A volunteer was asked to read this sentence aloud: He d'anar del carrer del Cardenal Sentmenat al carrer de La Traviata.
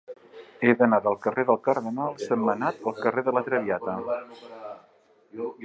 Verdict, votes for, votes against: accepted, 2, 0